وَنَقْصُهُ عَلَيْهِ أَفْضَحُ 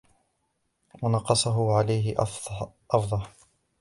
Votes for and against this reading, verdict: 1, 2, rejected